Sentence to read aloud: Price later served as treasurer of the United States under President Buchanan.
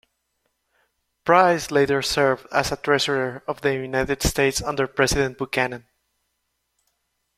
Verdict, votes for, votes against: accepted, 2, 0